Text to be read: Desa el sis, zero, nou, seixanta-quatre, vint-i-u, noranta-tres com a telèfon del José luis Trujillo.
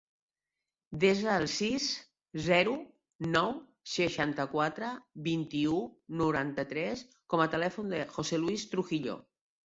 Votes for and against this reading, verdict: 1, 3, rejected